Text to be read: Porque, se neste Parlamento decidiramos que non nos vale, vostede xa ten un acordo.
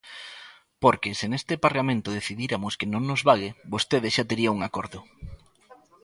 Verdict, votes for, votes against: rejected, 0, 2